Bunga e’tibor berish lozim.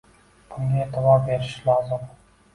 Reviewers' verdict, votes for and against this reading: rejected, 1, 2